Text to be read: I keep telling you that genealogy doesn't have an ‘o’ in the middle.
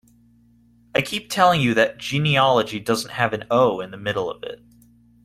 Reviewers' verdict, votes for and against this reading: rejected, 0, 2